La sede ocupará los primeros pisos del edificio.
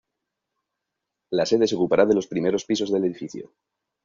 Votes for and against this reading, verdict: 1, 2, rejected